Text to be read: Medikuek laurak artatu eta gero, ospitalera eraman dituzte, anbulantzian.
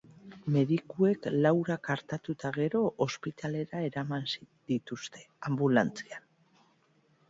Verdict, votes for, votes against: rejected, 0, 2